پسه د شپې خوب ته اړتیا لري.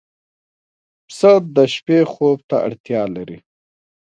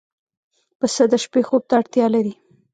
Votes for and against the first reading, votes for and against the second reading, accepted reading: 2, 0, 1, 2, first